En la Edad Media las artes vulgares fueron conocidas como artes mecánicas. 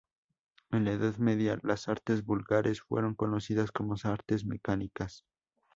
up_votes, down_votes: 0, 2